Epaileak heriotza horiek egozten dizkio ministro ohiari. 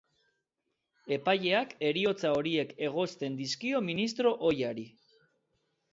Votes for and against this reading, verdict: 2, 0, accepted